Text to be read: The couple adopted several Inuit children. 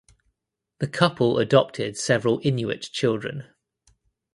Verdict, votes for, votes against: accepted, 2, 0